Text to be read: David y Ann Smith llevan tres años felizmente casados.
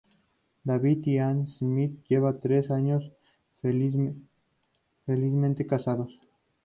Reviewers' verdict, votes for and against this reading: rejected, 0, 2